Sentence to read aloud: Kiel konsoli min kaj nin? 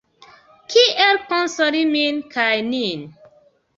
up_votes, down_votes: 2, 0